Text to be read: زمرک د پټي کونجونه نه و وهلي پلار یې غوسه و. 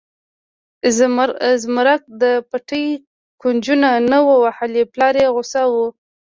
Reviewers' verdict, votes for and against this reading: rejected, 0, 2